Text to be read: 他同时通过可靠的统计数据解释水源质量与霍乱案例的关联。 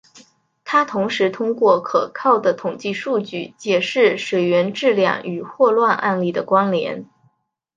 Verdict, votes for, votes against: accepted, 5, 0